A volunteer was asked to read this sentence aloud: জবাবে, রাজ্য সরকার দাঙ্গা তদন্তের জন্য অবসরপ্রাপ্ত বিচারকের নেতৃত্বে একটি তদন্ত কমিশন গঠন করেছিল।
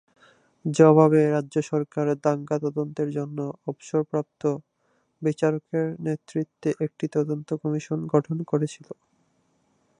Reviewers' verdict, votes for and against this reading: rejected, 0, 2